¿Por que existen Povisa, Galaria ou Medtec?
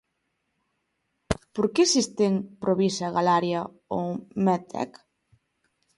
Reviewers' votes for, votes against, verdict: 1, 2, rejected